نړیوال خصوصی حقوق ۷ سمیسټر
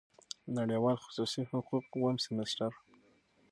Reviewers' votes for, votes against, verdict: 0, 2, rejected